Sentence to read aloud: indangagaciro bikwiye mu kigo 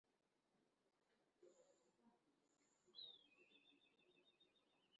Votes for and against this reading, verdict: 0, 2, rejected